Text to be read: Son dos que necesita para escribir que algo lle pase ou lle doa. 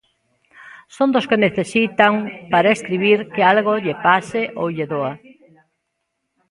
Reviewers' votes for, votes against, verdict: 0, 2, rejected